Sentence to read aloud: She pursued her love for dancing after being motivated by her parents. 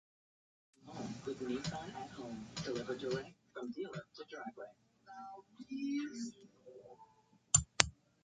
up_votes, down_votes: 0, 2